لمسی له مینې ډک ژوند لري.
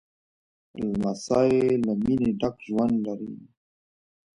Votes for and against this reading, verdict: 2, 0, accepted